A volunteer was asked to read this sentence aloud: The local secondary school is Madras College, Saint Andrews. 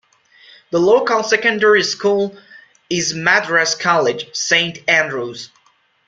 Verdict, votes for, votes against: accepted, 2, 0